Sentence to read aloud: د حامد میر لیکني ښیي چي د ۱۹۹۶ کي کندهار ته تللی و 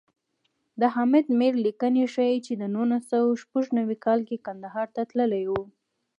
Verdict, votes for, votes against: rejected, 0, 2